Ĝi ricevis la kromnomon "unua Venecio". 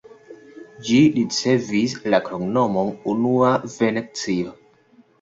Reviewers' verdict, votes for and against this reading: accepted, 2, 1